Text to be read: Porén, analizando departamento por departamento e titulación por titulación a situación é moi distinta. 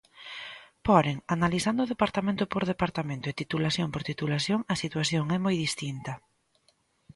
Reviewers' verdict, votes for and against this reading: rejected, 1, 2